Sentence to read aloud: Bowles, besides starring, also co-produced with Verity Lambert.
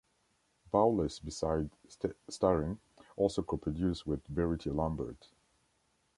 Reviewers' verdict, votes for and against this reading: rejected, 1, 2